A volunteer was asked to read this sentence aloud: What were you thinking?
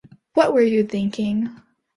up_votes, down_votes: 2, 0